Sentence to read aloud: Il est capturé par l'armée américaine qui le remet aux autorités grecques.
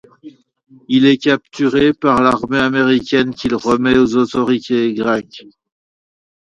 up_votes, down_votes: 1, 2